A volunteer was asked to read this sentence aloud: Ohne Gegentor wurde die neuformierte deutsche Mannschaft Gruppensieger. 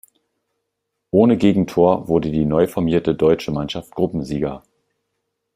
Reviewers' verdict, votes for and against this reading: accepted, 2, 0